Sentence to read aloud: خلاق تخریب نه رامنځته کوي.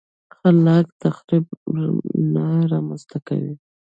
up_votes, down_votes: 0, 2